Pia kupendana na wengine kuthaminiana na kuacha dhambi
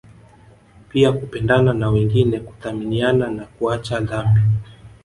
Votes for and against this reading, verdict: 3, 1, accepted